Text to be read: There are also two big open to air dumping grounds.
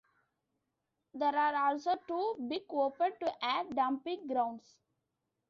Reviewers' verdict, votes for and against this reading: rejected, 1, 2